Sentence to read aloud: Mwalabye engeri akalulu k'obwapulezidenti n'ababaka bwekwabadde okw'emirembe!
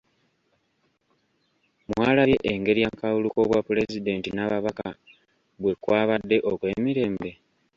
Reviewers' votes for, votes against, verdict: 1, 2, rejected